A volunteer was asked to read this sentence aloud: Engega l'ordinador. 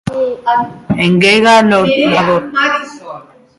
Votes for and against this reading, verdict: 0, 2, rejected